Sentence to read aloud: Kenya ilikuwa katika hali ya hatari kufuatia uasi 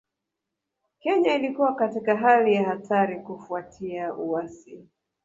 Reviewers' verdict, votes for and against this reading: rejected, 1, 2